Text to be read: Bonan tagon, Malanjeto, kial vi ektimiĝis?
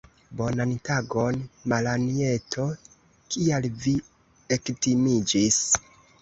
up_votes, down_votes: 1, 2